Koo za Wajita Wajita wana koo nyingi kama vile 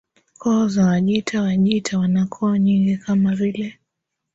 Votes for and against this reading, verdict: 2, 0, accepted